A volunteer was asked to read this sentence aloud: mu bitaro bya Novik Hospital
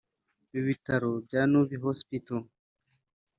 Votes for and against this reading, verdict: 1, 3, rejected